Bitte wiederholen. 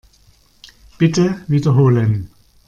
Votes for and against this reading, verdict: 2, 0, accepted